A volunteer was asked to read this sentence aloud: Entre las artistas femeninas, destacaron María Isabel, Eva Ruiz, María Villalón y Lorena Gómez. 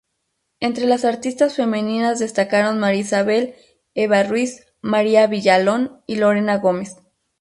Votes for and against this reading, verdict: 0, 2, rejected